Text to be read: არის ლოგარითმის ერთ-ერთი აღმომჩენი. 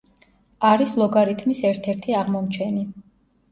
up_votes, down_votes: 2, 0